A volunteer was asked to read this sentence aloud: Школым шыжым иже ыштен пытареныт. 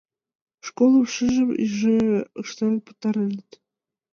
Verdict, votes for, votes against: rejected, 0, 2